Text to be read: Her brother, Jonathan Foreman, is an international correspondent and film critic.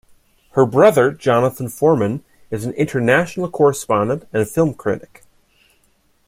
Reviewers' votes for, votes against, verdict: 2, 0, accepted